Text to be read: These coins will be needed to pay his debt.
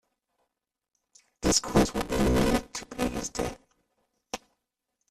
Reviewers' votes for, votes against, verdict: 0, 2, rejected